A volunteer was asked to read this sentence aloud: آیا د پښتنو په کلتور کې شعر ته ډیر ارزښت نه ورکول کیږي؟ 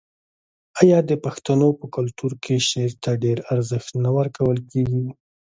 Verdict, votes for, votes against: accepted, 2, 0